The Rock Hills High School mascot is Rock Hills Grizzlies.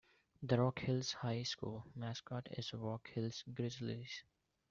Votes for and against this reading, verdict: 1, 2, rejected